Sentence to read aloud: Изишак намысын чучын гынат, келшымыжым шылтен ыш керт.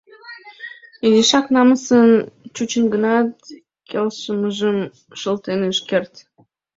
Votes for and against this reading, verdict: 1, 2, rejected